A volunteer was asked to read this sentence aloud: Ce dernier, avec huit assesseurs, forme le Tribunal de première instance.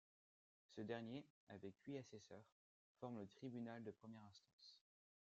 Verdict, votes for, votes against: rejected, 1, 2